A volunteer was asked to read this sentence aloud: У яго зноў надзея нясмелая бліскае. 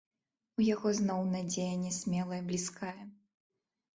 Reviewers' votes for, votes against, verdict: 1, 2, rejected